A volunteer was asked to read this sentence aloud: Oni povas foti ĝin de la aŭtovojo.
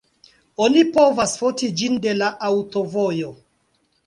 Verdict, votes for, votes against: rejected, 0, 2